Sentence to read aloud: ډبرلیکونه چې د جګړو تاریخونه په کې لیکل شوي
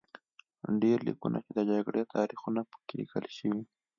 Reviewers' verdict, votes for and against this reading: accepted, 2, 1